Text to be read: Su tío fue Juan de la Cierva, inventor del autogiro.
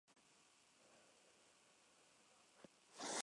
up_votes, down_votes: 0, 2